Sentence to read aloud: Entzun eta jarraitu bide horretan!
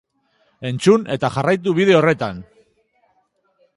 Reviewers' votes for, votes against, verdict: 1, 2, rejected